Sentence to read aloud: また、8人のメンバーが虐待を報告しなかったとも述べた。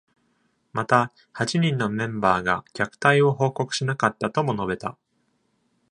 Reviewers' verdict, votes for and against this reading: rejected, 0, 2